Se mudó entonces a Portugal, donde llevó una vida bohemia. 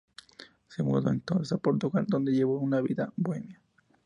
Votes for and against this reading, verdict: 2, 0, accepted